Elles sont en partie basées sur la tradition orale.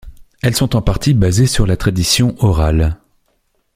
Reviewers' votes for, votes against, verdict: 2, 0, accepted